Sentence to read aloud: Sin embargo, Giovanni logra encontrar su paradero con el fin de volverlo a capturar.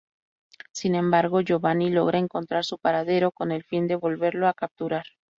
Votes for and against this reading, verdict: 2, 2, rejected